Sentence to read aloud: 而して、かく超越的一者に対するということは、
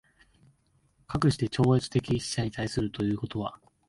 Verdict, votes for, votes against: rejected, 0, 2